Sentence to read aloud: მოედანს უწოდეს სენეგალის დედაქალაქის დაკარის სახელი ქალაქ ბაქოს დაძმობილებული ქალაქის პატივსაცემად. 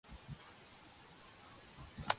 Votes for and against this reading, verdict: 0, 2, rejected